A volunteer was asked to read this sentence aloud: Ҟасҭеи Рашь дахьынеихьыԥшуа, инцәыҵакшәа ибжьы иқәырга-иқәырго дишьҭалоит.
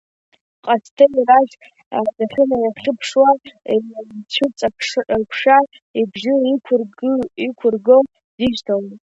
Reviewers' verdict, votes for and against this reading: accepted, 2, 1